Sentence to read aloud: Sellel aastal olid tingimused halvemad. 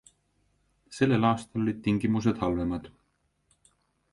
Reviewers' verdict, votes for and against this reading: accepted, 3, 0